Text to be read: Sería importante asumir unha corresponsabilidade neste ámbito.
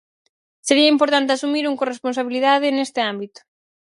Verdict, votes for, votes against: rejected, 0, 4